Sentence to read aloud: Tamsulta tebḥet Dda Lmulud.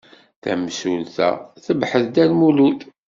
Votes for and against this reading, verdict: 0, 2, rejected